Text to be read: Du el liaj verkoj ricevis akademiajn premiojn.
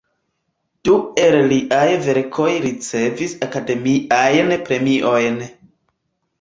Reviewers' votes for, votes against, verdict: 2, 1, accepted